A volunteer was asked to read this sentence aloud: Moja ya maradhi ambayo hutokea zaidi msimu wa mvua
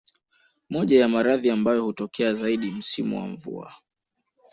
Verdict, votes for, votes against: accepted, 2, 0